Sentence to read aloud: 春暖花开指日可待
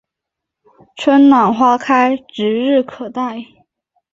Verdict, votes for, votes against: accepted, 4, 1